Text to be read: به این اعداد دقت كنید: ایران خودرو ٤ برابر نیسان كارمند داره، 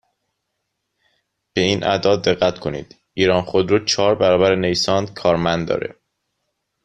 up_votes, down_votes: 0, 2